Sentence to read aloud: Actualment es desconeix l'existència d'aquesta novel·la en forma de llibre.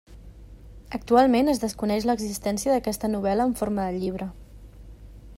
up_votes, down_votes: 3, 0